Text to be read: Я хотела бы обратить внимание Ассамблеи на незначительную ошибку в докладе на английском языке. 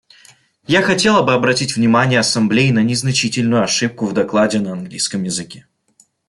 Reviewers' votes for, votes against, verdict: 2, 0, accepted